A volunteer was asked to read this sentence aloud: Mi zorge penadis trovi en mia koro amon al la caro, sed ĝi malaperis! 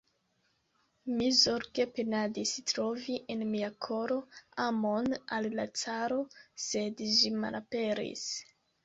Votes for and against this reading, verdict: 1, 2, rejected